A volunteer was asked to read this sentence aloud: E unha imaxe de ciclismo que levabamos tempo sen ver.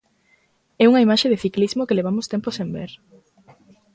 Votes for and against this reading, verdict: 1, 2, rejected